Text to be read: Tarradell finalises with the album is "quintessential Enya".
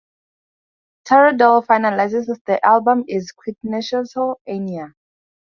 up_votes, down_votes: 4, 0